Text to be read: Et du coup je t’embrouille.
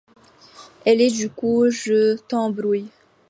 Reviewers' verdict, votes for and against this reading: rejected, 0, 2